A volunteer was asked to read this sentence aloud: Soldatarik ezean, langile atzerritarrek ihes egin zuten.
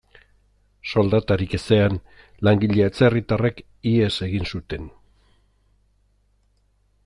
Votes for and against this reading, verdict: 2, 0, accepted